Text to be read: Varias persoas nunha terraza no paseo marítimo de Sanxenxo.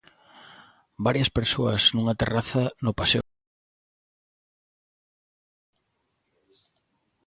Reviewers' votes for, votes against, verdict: 0, 2, rejected